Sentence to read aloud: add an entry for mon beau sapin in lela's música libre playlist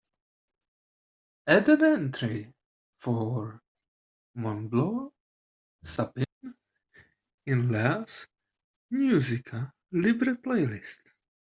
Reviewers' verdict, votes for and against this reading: rejected, 0, 2